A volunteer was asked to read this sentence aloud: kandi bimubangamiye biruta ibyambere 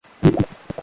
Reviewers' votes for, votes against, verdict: 1, 2, rejected